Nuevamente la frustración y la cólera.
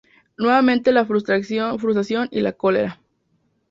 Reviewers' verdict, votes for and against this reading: rejected, 0, 2